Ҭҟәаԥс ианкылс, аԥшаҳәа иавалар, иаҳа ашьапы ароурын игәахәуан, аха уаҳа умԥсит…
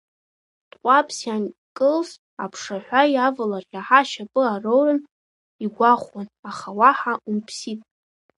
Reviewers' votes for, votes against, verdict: 1, 2, rejected